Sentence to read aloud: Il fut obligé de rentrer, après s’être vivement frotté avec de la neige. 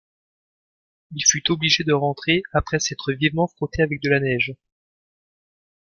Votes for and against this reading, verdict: 2, 0, accepted